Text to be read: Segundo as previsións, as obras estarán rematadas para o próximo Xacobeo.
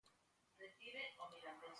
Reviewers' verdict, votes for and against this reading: rejected, 0, 2